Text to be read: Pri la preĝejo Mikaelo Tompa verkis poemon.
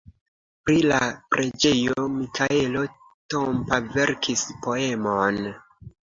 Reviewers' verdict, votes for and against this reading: accepted, 2, 0